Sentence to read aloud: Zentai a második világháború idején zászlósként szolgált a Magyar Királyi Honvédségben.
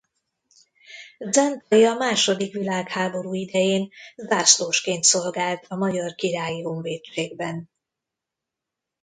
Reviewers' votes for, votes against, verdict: 0, 2, rejected